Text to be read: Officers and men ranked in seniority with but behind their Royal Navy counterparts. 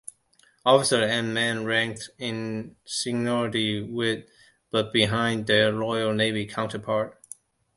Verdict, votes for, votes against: rejected, 0, 2